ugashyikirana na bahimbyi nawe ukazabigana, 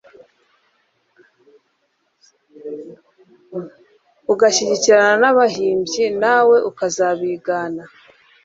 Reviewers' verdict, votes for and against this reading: rejected, 1, 2